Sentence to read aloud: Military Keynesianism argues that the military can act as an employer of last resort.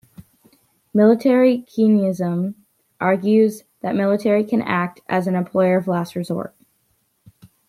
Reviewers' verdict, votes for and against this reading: rejected, 0, 2